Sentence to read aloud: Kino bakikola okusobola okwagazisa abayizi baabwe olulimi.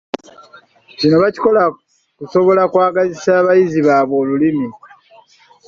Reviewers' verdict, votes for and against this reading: rejected, 0, 2